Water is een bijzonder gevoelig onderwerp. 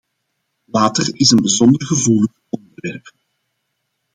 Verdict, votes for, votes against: rejected, 0, 2